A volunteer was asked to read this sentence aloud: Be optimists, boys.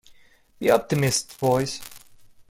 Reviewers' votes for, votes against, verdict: 2, 1, accepted